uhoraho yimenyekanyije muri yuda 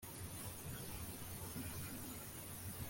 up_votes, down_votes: 1, 2